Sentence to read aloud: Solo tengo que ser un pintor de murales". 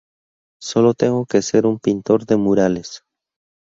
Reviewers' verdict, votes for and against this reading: rejected, 0, 2